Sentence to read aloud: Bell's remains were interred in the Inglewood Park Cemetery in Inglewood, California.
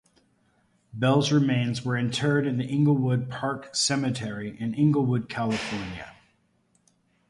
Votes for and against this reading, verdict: 2, 0, accepted